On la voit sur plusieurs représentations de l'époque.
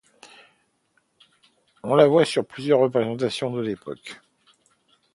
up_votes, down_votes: 1, 2